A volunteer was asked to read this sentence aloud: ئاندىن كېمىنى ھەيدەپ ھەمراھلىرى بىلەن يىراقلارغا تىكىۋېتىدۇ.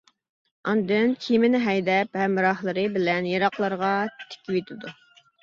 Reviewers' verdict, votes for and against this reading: accepted, 2, 1